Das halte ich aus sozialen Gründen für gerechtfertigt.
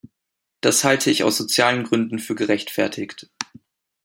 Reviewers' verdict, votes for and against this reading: accepted, 2, 0